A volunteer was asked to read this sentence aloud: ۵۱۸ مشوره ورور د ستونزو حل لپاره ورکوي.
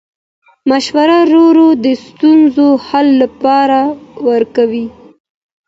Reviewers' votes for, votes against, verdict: 0, 2, rejected